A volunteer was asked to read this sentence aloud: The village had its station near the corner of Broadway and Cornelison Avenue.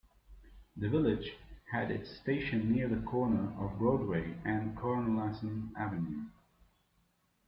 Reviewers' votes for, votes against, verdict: 1, 2, rejected